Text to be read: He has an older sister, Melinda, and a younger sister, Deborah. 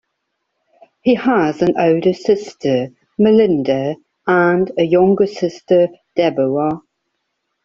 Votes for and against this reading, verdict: 2, 1, accepted